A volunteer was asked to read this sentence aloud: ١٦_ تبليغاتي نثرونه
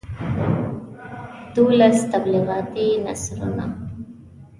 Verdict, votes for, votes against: rejected, 0, 2